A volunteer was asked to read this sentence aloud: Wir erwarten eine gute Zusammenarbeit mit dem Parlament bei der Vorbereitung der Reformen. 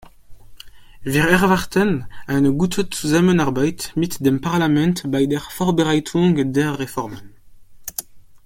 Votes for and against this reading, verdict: 1, 2, rejected